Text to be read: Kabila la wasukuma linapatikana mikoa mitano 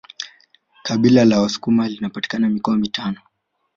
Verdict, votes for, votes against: accepted, 2, 0